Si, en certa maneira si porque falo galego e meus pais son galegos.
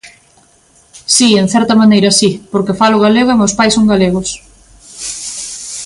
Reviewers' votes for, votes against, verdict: 2, 0, accepted